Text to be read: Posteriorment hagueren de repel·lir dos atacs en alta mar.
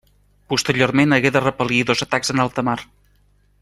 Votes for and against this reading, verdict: 0, 2, rejected